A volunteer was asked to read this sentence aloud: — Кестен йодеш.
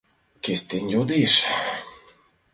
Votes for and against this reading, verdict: 2, 0, accepted